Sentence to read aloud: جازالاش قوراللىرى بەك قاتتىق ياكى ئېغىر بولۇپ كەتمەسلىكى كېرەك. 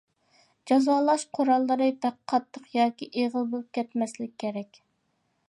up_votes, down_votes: 0, 2